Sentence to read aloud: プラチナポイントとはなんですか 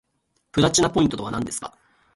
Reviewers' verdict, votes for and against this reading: accepted, 2, 1